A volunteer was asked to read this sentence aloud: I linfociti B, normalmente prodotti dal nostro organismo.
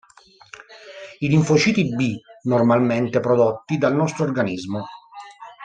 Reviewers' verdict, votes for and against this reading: rejected, 1, 2